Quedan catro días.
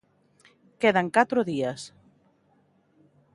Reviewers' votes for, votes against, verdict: 2, 0, accepted